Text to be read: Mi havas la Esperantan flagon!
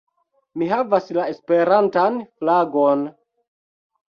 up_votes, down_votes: 2, 0